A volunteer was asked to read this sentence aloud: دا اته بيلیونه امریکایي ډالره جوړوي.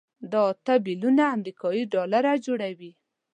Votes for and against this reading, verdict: 2, 0, accepted